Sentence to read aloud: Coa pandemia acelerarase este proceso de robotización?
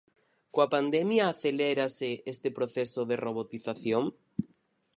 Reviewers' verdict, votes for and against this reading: rejected, 0, 4